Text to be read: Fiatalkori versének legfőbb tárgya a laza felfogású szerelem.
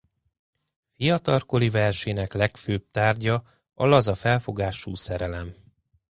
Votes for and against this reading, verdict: 2, 1, accepted